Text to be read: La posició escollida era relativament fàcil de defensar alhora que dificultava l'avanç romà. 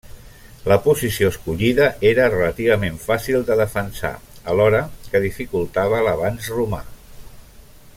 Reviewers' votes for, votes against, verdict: 0, 2, rejected